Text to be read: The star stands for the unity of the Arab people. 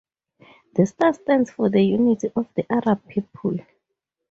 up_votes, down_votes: 2, 0